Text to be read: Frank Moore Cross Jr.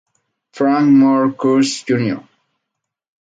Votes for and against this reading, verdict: 4, 2, accepted